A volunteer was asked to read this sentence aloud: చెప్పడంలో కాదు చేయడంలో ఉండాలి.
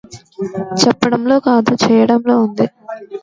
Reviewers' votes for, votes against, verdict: 0, 2, rejected